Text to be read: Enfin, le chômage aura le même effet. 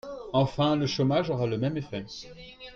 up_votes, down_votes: 3, 2